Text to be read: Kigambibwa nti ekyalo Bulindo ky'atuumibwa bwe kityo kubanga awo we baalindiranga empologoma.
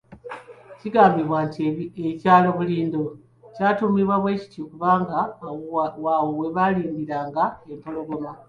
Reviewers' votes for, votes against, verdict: 2, 1, accepted